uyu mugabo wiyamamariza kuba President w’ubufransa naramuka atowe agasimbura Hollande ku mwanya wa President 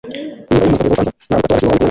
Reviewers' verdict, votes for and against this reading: rejected, 0, 2